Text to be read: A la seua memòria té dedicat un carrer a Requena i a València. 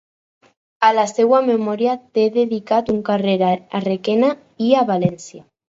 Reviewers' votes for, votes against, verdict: 4, 0, accepted